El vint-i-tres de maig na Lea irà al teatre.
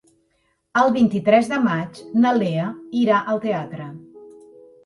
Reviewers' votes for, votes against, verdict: 3, 0, accepted